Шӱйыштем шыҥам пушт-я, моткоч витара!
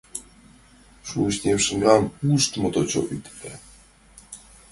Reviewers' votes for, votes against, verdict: 1, 2, rejected